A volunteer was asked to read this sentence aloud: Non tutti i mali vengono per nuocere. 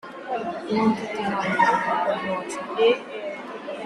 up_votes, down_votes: 0, 2